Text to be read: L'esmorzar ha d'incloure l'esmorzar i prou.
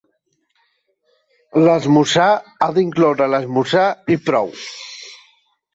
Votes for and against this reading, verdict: 2, 1, accepted